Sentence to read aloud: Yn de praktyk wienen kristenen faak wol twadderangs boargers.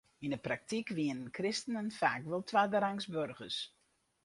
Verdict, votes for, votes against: rejected, 0, 2